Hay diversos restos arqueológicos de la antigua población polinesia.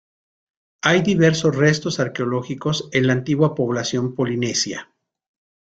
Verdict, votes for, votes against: rejected, 0, 2